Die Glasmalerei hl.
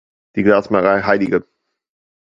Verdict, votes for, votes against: rejected, 1, 2